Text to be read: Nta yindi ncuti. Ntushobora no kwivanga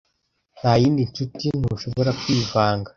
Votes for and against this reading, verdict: 0, 2, rejected